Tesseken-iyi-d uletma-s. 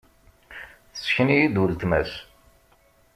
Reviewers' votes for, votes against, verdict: 2, 0, accepted